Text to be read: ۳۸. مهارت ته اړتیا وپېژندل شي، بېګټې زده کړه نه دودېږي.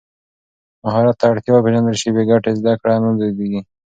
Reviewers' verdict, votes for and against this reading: rejected, 0, 2